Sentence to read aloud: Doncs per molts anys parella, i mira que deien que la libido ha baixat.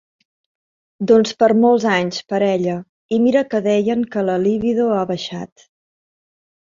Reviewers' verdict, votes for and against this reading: accepted, 3, 0